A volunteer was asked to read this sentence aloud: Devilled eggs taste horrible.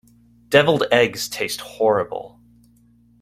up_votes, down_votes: 2, 0